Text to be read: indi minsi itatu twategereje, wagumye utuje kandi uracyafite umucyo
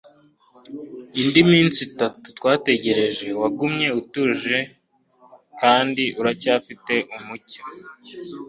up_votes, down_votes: 2, 0